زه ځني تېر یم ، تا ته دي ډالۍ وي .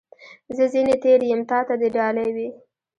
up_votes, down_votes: 2, 0